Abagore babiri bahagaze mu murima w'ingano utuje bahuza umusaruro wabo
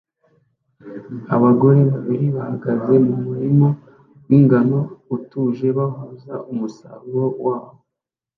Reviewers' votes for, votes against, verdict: 1, 2, rejected